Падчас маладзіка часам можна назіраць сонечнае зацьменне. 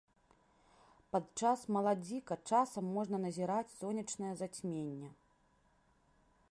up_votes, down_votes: 0, 2